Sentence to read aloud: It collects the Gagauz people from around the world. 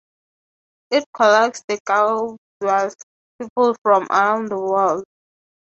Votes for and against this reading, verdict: 0, 18, rejected